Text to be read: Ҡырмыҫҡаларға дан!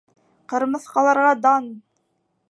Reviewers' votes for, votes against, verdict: 3, 0, accepted